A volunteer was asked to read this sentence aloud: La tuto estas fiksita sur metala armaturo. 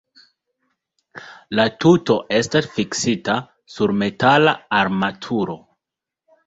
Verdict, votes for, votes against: accepted, 2, 0